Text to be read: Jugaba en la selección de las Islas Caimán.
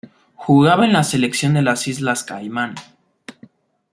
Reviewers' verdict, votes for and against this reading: accepted, 2, 0